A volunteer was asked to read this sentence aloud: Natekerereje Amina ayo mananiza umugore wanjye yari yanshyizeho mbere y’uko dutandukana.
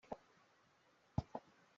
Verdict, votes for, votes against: rejected, 0, 2